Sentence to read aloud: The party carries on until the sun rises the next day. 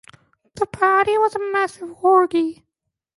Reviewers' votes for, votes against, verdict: 0, 2, rejected